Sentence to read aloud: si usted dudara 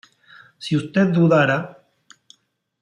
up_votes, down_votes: 3, 0